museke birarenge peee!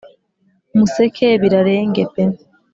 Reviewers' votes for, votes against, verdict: 2, 0, accepted